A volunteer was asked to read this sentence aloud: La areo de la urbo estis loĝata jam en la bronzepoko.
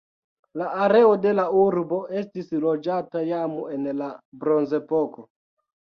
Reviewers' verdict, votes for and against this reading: accepted, 2, 0